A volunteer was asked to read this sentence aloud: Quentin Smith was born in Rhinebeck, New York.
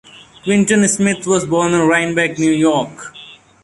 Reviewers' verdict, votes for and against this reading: rejected, 1, 2